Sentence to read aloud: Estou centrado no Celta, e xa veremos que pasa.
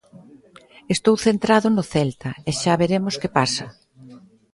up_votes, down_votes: 2, 0